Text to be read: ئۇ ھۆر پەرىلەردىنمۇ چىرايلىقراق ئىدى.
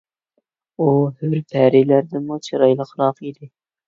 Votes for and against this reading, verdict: 2, 0, accepted